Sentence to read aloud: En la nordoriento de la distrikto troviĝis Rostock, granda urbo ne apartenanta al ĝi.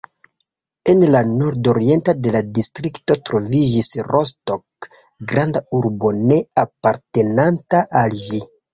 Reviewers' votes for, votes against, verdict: 1, 2, rejected